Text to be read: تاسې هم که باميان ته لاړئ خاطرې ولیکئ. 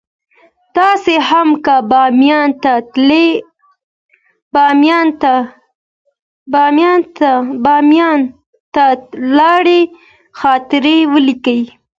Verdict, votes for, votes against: rejected, 0, 2